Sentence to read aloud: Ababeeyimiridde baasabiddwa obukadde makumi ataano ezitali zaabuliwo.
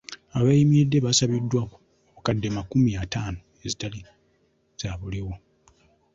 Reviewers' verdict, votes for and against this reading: rejected, 1, 2